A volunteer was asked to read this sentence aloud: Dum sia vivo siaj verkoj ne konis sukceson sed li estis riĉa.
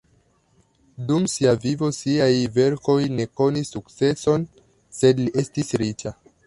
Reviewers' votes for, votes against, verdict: 2, 0, accepted